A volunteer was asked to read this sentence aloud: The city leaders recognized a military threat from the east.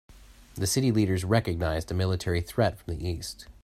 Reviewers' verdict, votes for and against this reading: accepted, 2, 0